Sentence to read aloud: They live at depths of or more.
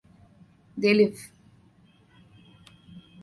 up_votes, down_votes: 0, 2